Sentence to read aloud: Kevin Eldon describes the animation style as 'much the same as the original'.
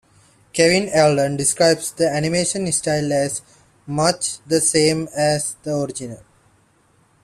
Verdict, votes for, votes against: accepted, 2, 0